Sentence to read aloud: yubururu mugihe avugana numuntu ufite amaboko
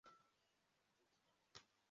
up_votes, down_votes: 0, 2